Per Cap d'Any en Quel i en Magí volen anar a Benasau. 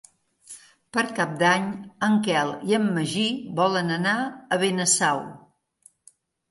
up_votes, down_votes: 3, 0